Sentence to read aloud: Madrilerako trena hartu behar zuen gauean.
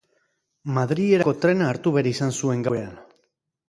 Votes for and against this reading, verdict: 4, 4, rejected